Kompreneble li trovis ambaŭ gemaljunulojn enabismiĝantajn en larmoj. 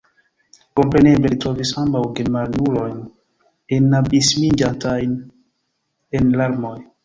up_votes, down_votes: 0, 2